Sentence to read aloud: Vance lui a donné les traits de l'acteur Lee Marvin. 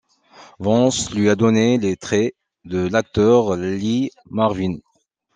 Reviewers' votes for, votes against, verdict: 1, 2, rejected